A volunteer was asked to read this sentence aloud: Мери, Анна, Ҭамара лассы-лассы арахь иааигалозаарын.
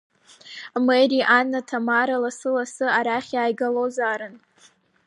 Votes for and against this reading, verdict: 2, 0, accepted